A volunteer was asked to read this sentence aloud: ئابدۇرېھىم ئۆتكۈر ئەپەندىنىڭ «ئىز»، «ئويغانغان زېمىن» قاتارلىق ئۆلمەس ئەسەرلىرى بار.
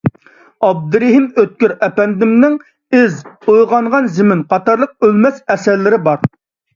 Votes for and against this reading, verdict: 0, 2, rejected